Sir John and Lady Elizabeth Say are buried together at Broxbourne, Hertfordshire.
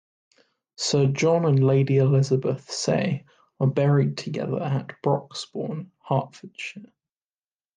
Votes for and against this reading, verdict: 2, 0, accepted